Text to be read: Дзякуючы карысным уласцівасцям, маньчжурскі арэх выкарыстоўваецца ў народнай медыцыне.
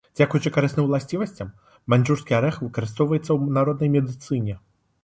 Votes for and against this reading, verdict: 2, 1, accepted